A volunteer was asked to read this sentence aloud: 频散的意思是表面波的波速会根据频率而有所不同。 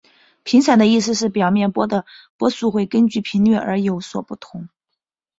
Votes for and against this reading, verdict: 2, 0, accepted